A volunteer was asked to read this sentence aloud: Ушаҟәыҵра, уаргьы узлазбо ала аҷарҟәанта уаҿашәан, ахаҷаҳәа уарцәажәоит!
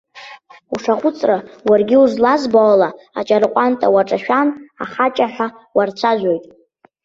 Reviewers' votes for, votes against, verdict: 2, 1, accepted